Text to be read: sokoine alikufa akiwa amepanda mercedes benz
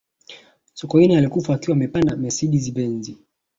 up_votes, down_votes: 2, 0